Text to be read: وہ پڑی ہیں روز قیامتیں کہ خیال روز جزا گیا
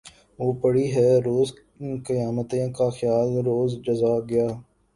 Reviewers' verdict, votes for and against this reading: accepted, 5, 1